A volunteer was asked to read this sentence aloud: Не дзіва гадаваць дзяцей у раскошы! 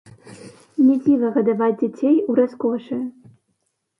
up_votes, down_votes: 0, 2